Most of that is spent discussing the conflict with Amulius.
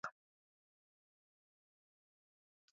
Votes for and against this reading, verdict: 1, 2, rejected